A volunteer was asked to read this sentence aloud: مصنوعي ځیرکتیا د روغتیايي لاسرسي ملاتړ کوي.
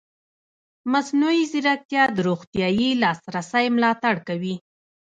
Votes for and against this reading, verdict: 2, 1, accepted